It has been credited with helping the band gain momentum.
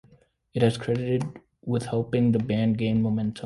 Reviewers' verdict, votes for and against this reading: rejected, 1, 2